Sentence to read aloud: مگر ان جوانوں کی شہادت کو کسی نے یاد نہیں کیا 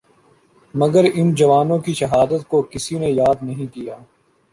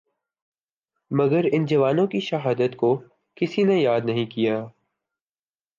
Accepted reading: first